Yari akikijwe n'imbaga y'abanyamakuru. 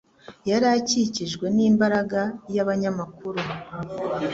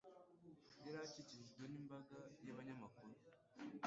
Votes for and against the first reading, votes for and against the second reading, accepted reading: 2, 0, 0, 2, first